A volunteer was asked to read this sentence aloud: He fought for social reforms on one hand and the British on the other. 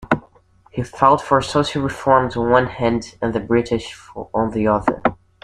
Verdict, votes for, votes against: rejected, 1, 2